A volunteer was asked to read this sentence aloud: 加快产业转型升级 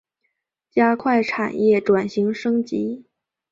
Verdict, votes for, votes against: accepted, 2, 0